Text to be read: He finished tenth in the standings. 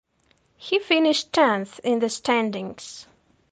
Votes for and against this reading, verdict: 2, 0, accepted